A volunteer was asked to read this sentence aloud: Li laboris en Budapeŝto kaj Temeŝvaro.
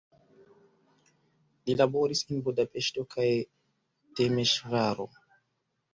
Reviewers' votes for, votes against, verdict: 1, 2, rejected